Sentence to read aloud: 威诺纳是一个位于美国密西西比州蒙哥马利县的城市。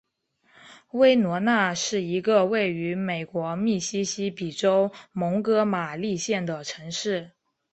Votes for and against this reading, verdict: 2, 0, accepted